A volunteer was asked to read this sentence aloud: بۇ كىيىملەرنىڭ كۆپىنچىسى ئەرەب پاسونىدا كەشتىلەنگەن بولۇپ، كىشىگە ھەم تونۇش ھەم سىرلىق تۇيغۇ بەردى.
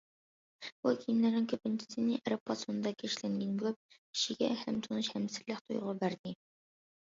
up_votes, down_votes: 0, 2